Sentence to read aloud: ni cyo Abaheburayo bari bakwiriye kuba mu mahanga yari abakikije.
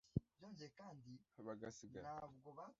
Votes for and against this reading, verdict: 0, 2, rejected